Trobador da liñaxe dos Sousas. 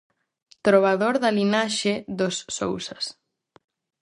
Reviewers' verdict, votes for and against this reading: rejected, 0, 4